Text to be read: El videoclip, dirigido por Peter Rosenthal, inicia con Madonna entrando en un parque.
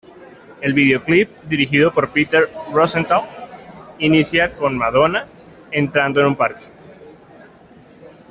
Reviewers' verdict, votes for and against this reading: accepted, 2, 0